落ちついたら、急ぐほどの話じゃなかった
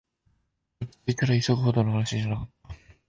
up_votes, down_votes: 0, 2